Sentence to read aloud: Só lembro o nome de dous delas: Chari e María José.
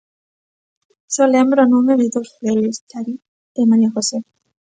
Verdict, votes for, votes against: rejected, 0, 2